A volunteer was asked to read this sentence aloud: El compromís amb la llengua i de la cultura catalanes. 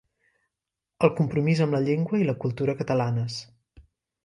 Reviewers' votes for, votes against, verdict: 1, 2, rejected